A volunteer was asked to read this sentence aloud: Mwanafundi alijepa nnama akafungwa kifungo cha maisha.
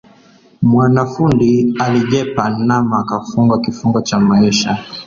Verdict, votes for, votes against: rejected, 0, 2